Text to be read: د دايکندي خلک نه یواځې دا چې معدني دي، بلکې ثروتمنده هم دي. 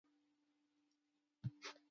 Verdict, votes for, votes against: rejected, 0, 2